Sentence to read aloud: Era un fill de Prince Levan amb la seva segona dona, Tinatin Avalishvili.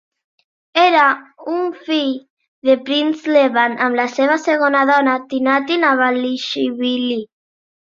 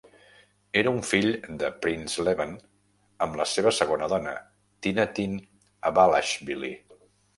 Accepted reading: first